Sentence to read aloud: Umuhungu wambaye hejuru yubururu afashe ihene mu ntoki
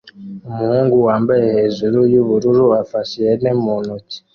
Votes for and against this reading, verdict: 2, 1, accepted